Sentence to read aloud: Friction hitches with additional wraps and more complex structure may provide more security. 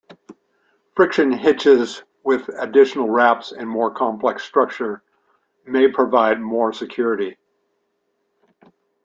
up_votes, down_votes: 2, 0